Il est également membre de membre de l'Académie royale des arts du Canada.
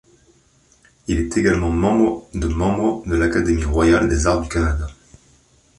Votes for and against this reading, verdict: 2, 0, accepted